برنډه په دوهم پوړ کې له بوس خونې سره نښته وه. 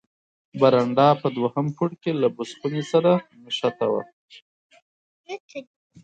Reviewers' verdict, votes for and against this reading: accepted, 4, 2